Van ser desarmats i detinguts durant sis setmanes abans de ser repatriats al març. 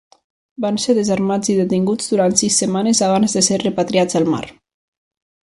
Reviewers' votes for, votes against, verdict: 1, 2, rejected